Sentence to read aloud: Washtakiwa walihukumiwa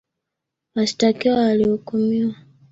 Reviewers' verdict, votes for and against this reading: accepted, 3, 0